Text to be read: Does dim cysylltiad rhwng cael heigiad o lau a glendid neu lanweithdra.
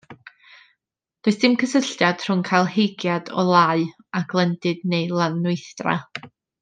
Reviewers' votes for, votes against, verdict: 2, 0, accepted